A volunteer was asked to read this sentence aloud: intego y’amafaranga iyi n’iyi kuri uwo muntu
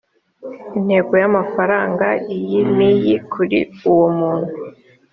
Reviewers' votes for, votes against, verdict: 3, 0, accepted